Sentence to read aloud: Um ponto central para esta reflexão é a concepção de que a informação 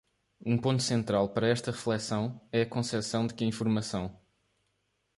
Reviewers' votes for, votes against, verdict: 1, 2, rejected